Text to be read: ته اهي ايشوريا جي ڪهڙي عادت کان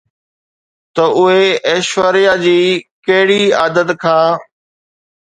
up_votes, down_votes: 2, 0